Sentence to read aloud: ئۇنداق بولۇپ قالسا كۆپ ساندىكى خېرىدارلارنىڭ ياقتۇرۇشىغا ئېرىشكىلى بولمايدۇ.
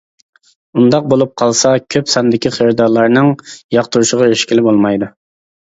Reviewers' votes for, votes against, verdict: 2, 0, accepted